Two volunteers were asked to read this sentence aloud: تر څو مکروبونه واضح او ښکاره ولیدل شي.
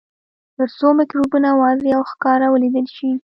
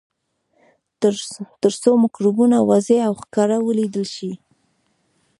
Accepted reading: first